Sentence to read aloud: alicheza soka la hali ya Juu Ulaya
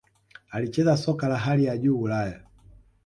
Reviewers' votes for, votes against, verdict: 2, 0, accepted